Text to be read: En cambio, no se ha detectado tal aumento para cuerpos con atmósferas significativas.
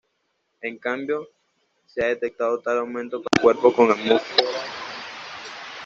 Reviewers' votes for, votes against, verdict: 1, 2, rejected